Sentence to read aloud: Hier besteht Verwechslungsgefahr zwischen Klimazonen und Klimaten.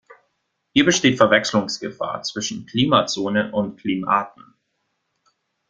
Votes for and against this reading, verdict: 1, 2, rejected